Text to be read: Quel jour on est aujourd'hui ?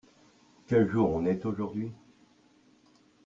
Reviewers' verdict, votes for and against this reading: accepted, 2, 1